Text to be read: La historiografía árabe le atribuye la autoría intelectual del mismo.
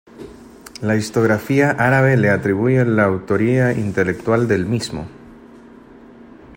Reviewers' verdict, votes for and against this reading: rejected, 1, 2